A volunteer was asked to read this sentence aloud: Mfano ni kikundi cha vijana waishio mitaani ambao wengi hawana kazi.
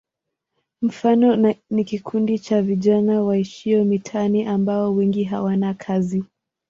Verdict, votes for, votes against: accepted, 2, 0